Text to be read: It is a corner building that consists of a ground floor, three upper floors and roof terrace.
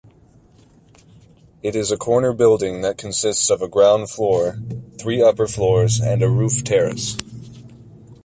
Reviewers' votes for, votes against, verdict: 1, 2, rejected